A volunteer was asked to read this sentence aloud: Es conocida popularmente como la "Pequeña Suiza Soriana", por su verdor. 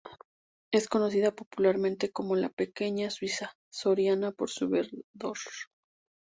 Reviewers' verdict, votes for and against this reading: accepted, 4, 0